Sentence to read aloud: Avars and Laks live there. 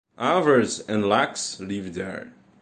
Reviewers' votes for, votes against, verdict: 2, 0, accepted